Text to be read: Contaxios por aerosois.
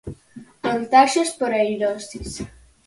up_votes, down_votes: 0, 4